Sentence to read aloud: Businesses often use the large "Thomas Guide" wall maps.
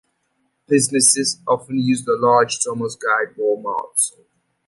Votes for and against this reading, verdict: 2, 0, accepted